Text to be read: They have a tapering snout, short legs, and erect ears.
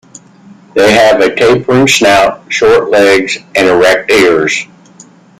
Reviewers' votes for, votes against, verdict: 2, 0, accepted